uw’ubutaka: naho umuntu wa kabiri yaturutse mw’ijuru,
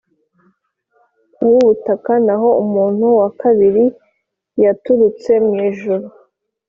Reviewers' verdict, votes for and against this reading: accepted, 3, 0